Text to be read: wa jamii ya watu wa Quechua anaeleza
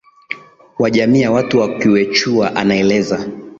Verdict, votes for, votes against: accepted, 2, 0